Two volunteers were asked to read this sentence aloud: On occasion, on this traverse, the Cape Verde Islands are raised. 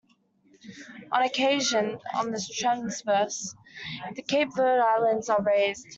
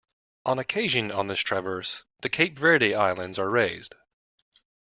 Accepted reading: second